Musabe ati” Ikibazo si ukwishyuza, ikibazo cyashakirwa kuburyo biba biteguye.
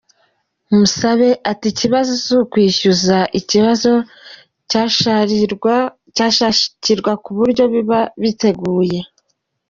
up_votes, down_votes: 0, 2